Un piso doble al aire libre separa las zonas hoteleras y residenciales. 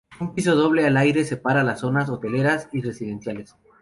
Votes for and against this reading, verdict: 0, 2, rejected